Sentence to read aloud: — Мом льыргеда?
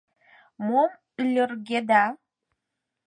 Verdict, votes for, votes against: accepted, 4, 0